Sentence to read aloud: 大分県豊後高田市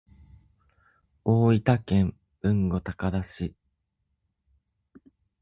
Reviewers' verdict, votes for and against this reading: rejected, 0, 2